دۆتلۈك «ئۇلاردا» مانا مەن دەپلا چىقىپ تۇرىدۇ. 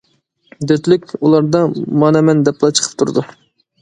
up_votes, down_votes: 2, 0